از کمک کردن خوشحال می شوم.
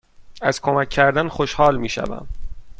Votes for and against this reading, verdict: 2, 0, accepted